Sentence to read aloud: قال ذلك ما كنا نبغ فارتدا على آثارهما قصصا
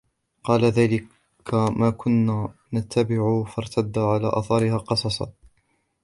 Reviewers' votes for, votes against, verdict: 1, 2, rejected